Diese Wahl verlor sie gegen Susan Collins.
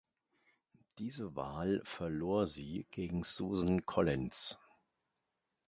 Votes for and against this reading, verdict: 2, 0, accepted